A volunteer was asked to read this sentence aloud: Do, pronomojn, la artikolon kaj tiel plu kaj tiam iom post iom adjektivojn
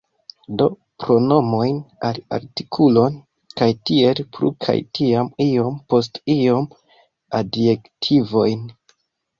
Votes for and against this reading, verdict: 4, 3, accepted